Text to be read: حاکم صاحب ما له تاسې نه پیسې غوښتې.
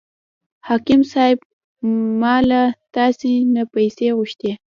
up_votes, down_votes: 2, 1